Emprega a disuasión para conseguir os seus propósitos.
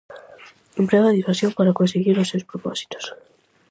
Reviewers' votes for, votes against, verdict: 4, 0, accepted